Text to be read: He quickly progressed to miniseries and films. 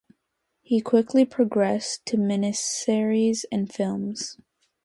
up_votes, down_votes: 2, 0